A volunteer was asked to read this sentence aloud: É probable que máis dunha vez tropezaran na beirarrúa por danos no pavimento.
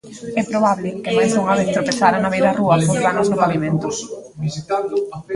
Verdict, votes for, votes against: rejected, 0, 2